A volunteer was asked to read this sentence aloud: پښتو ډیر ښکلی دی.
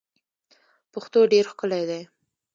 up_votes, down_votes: 1, 2